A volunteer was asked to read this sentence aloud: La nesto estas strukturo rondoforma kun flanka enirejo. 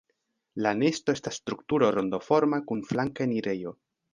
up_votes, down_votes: 1, 2